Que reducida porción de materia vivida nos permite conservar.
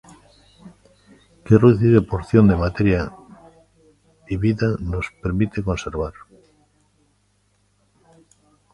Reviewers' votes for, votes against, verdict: 1, 2, rejected